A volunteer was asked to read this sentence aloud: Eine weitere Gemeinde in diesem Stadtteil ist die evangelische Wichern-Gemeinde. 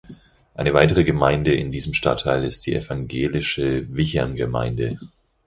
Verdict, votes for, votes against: accepted, 4, 0